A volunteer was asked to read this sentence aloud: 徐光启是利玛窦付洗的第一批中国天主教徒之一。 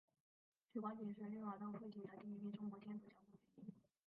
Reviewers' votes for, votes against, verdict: 0, 3, rejected